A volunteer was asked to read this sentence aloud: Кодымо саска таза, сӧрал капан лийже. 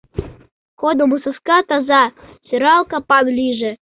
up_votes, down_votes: 2, 0